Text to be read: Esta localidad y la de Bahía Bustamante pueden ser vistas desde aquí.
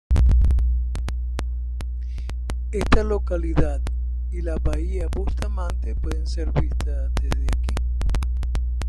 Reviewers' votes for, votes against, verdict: 0, 2, rejected